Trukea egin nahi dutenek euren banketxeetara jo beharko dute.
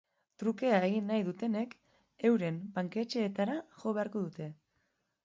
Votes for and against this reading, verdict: 2, 0, accepted